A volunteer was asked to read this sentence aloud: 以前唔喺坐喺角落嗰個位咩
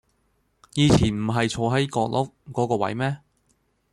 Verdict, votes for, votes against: accepted, 2, 0